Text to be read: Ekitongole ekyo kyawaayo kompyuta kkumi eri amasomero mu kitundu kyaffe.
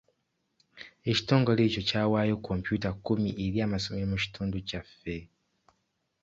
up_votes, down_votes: 2, 0